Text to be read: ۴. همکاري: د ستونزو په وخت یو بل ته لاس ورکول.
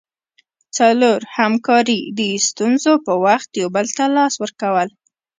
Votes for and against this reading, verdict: 0, 2, rejected